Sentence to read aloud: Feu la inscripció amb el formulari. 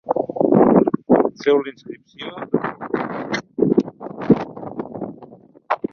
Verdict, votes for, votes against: rejected, 0, 2